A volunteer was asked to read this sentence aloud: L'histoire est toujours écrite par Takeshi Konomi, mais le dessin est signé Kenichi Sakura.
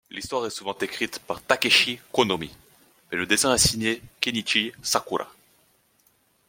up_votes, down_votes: 2, 0